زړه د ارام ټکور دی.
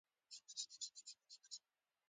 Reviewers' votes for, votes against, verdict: 0, 2, rejected